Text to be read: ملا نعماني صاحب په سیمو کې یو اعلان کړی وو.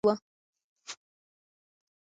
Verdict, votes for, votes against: rejected, 0, 2